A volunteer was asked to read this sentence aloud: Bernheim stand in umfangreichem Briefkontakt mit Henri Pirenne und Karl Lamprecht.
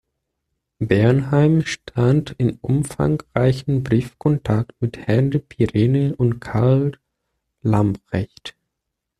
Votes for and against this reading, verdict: 1, 2, rejected